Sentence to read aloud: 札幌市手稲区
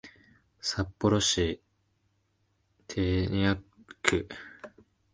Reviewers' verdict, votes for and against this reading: rejected, 0, 2